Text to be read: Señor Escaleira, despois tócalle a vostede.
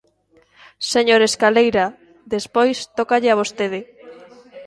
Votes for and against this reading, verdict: 1, 2, rejected